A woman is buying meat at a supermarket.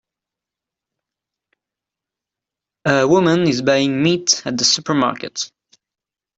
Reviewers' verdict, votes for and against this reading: accepted, 2, 0